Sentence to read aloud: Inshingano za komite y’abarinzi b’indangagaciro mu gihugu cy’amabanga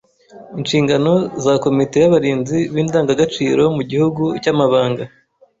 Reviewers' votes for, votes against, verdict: 2, 0, accepted